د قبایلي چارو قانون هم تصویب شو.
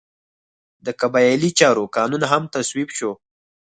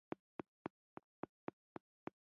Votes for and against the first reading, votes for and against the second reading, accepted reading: 4, 0, 1, 2, first